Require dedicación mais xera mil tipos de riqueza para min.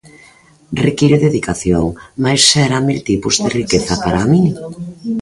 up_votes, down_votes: 2, 1